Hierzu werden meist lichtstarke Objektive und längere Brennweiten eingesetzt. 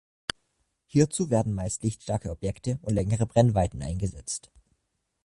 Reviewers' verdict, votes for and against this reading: rejected, 0, 2